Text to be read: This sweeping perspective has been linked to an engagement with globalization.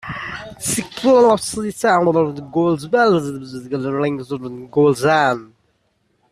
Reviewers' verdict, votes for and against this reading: rejected, 0, 2